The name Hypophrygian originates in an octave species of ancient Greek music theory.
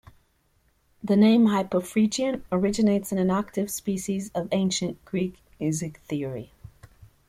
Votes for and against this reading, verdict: 2, 0, accepted